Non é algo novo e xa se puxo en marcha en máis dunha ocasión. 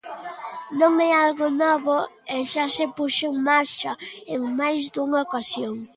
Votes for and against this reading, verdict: 2, 0, accepted